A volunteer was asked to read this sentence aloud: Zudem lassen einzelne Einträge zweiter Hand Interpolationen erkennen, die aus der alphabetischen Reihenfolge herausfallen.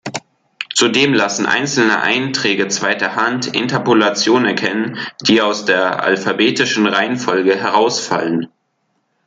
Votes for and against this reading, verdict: 2, 0, accepted